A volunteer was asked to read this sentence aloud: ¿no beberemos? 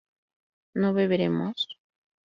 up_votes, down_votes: 2, 0